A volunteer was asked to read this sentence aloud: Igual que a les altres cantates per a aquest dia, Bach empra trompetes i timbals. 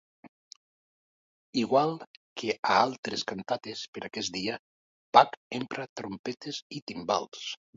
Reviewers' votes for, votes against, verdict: 0, 2, rejected